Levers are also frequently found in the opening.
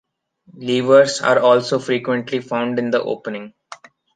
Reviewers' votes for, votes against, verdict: 1, 2, rejected